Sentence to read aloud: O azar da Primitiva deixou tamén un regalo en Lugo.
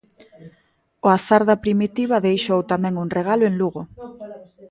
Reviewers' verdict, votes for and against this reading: rejected, 1, 2